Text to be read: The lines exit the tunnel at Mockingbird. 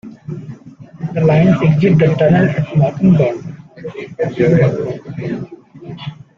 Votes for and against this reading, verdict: 2, 1, accepted